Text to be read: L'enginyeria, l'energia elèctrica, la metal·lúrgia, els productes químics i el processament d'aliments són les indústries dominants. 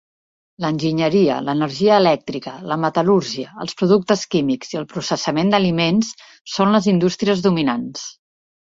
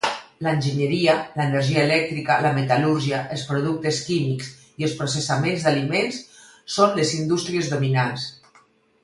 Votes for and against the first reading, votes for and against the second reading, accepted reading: 3, 0, 2, 4, first